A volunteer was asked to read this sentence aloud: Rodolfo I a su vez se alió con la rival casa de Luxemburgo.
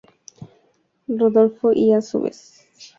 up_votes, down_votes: 0, 2